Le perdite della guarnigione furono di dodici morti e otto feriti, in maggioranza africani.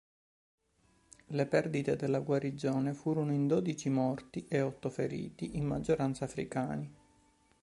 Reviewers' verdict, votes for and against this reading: rejected, 0, 2